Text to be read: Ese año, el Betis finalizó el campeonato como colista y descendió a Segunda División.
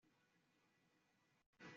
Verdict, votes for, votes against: accepted, 2, 0